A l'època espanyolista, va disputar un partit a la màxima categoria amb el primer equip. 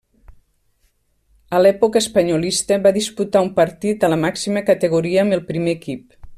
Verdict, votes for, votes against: accepted, 3, 0